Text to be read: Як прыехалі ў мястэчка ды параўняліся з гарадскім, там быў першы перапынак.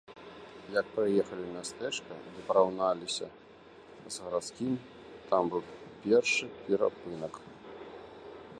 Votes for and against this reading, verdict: 0, 2, rejected